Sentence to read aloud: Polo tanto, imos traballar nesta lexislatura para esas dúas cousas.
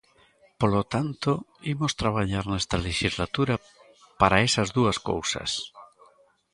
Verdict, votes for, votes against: accepted, 2, 1